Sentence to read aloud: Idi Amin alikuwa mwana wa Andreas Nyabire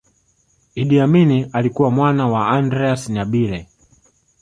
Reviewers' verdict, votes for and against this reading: accepted, 3, 0